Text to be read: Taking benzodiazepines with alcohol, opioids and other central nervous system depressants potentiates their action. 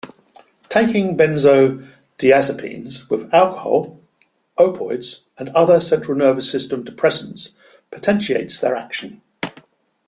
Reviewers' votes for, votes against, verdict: 1, 2, rejected